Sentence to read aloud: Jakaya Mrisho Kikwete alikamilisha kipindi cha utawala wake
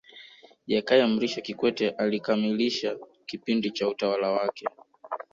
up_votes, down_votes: 5, 3